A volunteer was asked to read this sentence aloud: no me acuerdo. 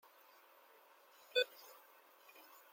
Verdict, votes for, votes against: rejected, 0, 2